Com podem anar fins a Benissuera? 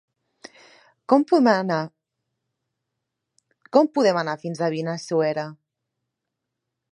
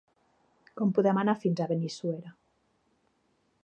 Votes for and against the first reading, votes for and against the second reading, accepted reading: 0, 2, 3, 0, second